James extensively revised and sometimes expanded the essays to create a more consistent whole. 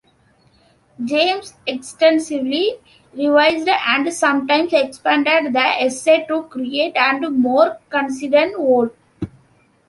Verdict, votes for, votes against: rejected, 0, 2